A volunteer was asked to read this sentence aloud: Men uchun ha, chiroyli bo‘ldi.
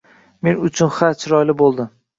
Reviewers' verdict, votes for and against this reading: accepted, 2, 0